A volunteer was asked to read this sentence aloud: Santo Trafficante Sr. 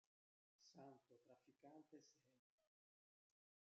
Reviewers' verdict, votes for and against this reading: rejected, 0, 2